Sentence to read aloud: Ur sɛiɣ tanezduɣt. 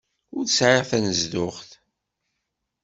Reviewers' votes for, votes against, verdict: 2, 0, accepted